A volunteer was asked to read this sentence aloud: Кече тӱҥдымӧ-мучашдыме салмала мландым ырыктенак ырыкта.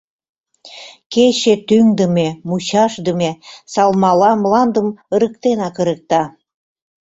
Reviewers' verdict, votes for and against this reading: accepted, 2, 0